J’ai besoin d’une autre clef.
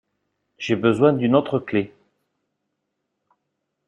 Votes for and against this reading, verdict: 2, 0, accepted